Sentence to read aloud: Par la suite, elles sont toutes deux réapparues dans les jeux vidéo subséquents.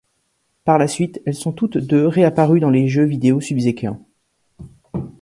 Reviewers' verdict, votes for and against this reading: rejected, 0, 2